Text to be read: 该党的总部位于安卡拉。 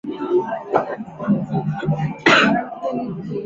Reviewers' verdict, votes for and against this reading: rejected, 0, 5